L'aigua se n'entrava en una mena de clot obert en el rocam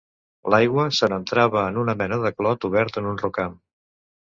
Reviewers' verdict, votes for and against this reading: rejected, 1, 2